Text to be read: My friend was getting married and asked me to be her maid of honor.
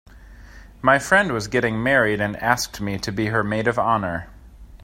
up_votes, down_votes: 2, 0